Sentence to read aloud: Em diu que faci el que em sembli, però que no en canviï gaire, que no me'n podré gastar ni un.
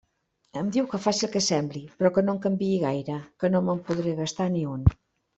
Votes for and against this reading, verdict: 0, 2, rejected